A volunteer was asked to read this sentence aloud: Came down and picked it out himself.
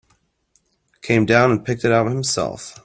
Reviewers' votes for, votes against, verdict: 2, 1, accepted